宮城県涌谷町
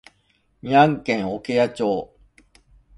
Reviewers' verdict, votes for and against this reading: rejected, 1, 2